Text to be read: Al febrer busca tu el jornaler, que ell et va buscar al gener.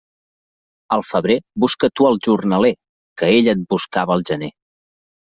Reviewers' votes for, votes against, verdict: 0, 2, rejected